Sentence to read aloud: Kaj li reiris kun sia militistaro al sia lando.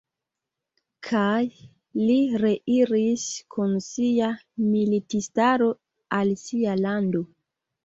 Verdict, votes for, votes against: accepted, 2, 0